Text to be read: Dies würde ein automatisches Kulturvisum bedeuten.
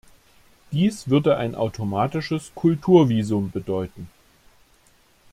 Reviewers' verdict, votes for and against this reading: accepted, 2, 0